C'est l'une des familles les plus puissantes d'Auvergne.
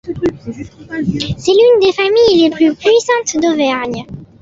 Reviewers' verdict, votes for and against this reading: accepted, 2, 0